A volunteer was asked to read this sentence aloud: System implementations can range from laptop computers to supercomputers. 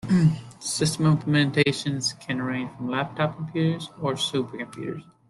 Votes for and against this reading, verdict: 0, 2, rejected